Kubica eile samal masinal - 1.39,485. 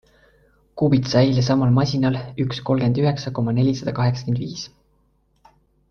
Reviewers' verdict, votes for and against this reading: rejected, 0, 2